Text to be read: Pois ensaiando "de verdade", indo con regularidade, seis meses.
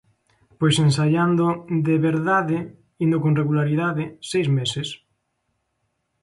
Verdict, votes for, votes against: accepted, 2, 0